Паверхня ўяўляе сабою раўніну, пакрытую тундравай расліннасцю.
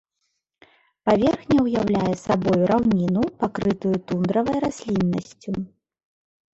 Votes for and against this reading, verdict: 2, 0, accepted